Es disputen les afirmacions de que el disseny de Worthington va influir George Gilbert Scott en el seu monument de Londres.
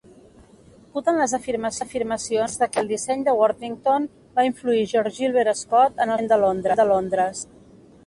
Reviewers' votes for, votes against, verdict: 1, 2, rejected